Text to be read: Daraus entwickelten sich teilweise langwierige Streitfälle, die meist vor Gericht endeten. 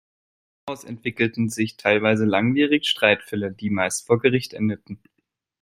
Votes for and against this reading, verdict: 0, 2, rejected